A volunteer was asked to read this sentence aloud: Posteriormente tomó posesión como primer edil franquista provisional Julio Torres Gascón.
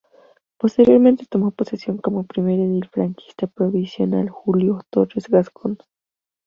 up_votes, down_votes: 2, 0